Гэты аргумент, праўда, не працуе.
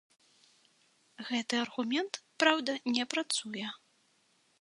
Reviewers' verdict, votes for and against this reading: accepted, 2, 0